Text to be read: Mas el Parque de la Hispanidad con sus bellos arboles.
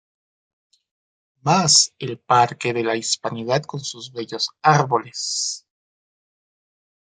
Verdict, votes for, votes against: rejected, 1, 2